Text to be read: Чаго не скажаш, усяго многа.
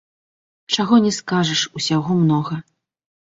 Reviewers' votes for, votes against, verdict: 2, 0, accepted